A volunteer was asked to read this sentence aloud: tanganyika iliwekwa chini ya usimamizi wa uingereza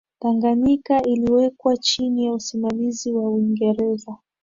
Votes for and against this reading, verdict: 27, 1, accepted